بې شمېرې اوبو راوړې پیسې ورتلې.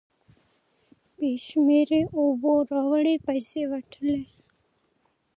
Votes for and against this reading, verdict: 1, 2, rejected